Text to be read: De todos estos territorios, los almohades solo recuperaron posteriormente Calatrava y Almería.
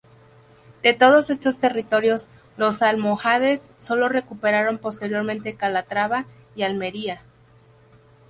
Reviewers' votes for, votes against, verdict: 0, 2, rejected